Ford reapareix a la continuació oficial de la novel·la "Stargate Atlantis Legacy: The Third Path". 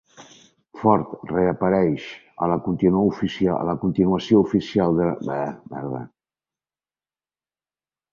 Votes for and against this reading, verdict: 1, 2, rejected